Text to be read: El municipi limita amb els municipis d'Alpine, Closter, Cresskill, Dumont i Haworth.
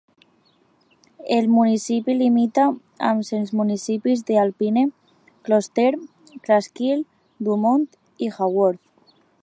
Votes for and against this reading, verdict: 0, 2, rejected